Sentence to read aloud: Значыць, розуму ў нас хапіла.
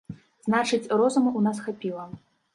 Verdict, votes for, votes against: accepted, 2, 0